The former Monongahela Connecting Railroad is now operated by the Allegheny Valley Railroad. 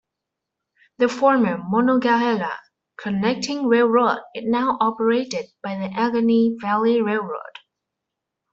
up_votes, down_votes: 2, 0